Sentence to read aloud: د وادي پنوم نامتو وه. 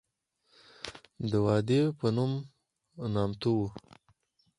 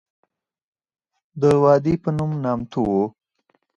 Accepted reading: second